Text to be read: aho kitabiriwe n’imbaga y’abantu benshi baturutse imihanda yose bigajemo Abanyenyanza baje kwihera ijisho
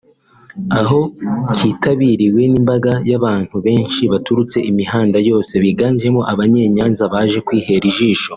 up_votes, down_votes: 2, 0